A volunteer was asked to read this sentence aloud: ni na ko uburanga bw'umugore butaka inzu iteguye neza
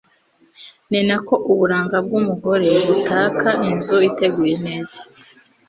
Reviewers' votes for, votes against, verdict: 2, 0, accepted